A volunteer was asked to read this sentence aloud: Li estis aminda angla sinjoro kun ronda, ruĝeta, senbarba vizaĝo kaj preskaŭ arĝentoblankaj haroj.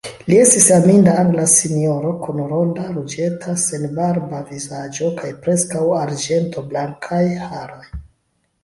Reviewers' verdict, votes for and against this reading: accepted, 2, 0